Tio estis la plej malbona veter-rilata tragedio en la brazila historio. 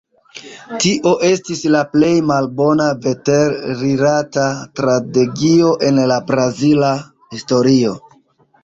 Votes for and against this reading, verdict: 2, 0, accepted